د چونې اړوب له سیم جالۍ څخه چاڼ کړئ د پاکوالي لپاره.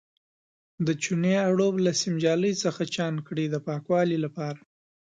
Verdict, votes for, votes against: rejected, 1, 2